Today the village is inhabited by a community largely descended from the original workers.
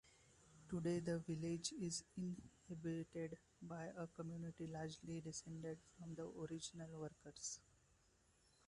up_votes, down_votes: 2, 0